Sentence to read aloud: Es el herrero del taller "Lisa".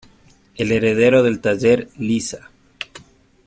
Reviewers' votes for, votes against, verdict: 0, 2, rejected